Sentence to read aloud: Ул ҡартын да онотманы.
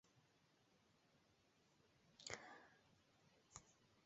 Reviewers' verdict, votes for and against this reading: rejected, 0, 2